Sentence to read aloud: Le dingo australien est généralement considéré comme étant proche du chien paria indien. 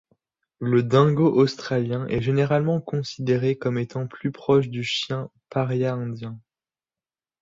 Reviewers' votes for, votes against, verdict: 0, 2, rejected